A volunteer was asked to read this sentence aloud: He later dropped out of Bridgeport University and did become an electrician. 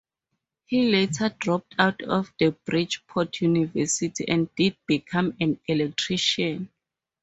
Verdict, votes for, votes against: accepted, 4, 0